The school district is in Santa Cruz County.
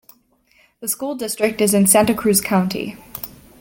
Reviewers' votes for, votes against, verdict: 2, 0, accepted